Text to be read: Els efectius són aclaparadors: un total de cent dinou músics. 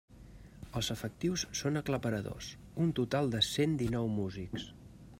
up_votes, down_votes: 3, 0